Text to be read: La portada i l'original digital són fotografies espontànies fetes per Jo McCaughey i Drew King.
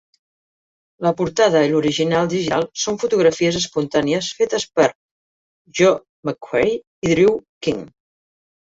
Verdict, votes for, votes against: rejected, 0, 3